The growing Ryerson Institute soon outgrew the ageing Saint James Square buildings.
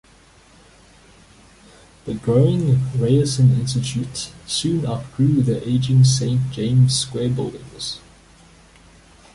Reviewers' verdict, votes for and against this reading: rejected, 1, 2